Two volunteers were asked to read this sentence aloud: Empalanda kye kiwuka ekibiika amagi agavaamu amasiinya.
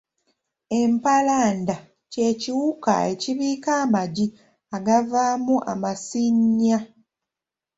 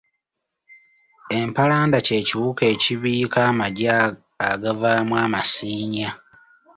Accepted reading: second